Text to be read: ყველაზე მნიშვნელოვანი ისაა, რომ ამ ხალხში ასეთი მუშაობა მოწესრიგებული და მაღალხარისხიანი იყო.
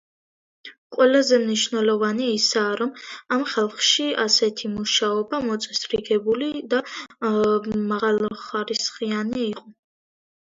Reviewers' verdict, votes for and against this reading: accepted, 2, 1